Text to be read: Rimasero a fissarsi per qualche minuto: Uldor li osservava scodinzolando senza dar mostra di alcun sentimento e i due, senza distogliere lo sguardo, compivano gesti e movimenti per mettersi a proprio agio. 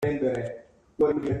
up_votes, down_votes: 0, 2